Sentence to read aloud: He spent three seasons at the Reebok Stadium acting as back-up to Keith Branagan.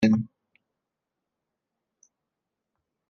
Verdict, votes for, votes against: rejected, 0, 2